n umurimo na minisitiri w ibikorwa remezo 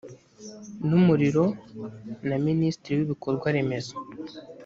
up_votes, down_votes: 0, 2